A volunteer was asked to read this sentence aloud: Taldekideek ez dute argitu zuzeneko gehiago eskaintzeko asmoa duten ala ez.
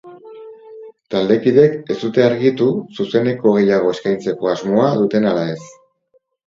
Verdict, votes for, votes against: rejected, 2, 4